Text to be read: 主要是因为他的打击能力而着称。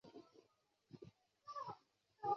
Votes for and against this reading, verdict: 1, 2, rejected